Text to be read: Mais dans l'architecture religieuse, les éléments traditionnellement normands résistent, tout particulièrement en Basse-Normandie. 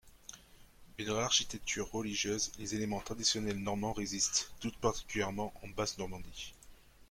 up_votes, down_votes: 1, 2